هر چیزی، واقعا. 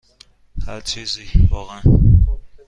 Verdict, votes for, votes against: accepted, 2, 0